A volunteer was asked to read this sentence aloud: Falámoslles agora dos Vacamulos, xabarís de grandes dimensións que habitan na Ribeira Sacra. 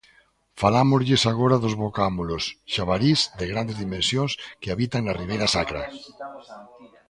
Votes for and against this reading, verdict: 1, 2, rejected